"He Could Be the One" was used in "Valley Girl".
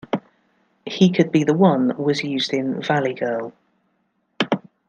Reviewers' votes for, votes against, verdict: 2, 0, accepted